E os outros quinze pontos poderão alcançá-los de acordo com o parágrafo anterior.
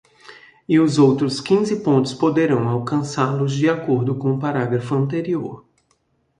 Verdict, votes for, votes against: accepted, 2, 0